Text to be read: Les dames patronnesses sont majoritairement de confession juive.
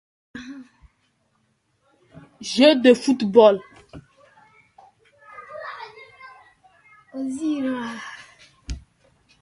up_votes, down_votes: 0, 2